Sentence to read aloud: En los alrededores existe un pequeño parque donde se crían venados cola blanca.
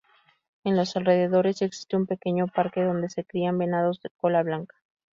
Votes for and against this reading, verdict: 0, 2, rejected